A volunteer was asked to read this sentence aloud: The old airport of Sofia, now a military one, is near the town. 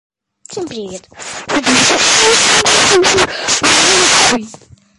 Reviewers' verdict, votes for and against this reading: rejected, 0, 3